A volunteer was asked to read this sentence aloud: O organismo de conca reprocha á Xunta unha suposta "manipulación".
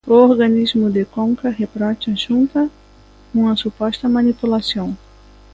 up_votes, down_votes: 1, 2